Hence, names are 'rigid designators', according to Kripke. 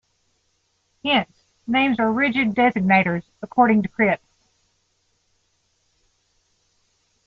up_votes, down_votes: 1, 2